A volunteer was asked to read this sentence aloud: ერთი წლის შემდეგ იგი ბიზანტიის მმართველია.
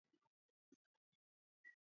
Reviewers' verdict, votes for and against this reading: rejected, 0, 2